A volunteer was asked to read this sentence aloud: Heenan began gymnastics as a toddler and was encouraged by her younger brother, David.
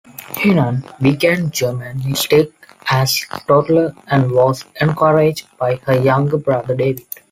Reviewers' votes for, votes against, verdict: 0, 2, rejected